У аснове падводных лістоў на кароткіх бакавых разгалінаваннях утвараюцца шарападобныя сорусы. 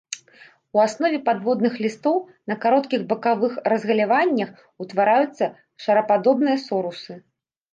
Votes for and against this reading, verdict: 1, 2, rejected